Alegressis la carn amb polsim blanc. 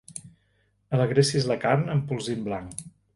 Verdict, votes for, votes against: accepted, 3, 1